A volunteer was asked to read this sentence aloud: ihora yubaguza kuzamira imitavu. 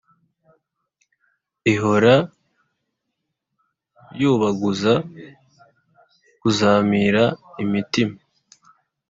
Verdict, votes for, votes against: rejected, 1, 2